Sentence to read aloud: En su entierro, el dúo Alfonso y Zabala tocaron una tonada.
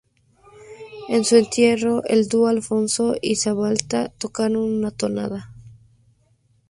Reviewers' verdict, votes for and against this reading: accepted, 2, 0